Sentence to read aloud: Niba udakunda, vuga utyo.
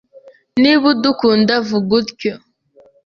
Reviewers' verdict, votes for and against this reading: rejected, 1, 2